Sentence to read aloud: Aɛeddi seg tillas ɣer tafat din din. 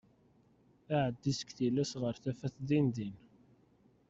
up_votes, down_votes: 1, 2